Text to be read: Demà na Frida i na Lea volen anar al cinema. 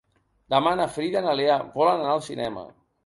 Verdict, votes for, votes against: rejected, 1, 2